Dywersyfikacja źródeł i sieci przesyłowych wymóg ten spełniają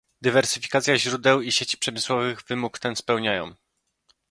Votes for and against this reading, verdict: 0, 2, rejected